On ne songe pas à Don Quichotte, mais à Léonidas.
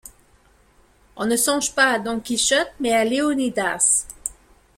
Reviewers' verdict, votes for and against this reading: accepted, 2, 0